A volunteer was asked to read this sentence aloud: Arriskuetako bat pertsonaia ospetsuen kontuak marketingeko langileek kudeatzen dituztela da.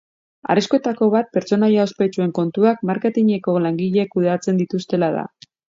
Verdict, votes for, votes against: accepted, 3, 0